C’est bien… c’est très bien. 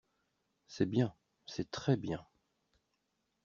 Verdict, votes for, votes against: accepted, 2, 0